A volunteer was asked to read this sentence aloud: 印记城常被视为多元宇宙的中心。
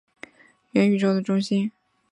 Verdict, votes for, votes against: rejected, 3, 3